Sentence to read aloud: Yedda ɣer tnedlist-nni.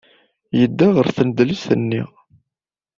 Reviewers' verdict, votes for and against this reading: accepted, 2, 1